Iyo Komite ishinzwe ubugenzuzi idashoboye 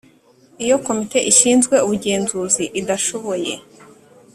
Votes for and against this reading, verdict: 3, 0, accepted